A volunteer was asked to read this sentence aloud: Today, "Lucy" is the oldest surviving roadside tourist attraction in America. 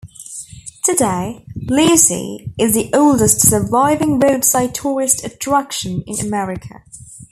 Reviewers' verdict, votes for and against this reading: rejected, 1, 2